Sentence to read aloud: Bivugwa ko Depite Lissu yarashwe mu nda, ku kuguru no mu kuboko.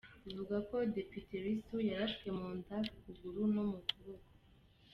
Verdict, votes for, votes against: rejected, 1, 2